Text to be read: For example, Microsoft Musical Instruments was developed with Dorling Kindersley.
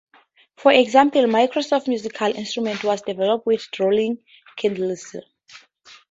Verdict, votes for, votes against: accepted, 2, 0